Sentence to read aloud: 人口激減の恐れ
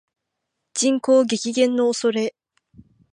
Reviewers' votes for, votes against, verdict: 2, 0, accepted